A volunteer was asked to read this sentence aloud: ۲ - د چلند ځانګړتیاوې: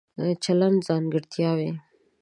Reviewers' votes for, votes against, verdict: 0, 2, rejected